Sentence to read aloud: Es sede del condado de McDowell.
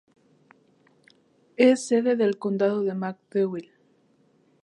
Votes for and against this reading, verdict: 0, 2, rejected